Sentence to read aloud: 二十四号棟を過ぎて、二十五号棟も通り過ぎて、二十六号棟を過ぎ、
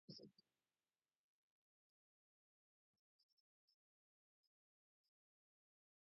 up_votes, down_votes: 0, 3